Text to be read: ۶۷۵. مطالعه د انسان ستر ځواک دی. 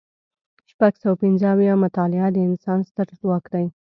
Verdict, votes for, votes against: rejected, 0, 2